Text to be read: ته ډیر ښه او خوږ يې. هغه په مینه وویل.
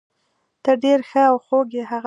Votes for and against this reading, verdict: 0, 2, rejected